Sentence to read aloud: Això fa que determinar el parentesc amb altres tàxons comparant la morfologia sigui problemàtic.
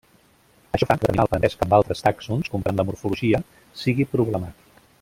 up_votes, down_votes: 0, 2